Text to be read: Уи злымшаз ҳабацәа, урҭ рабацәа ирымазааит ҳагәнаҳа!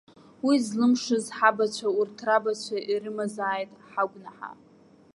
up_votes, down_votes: 2, 0